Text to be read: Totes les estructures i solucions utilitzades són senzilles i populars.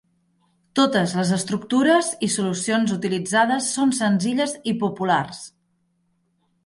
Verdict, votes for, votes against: accepted, 2, 0